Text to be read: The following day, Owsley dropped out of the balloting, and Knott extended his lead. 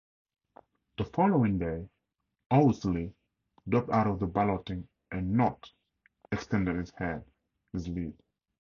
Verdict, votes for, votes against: rejected, 2, 4